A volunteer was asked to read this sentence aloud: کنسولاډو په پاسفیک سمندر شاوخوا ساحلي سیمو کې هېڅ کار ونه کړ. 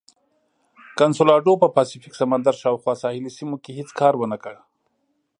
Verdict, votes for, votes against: accepted, 2, 0